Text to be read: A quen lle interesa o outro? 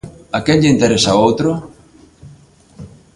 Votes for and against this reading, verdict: 2, 0, accepted